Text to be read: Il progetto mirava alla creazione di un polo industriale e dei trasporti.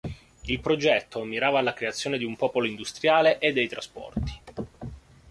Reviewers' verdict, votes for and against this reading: rejected, 1, 2